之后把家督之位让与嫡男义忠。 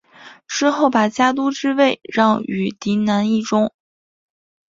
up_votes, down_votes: 3, 0